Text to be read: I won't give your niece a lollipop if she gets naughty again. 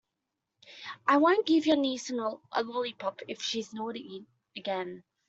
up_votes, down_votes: 2, 1